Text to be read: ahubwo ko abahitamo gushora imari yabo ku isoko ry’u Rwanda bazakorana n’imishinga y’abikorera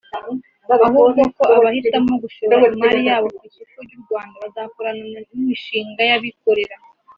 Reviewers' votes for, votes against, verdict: 3, 0, accepted